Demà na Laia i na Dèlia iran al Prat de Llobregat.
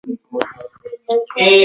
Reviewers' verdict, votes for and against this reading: rejected, 0, 2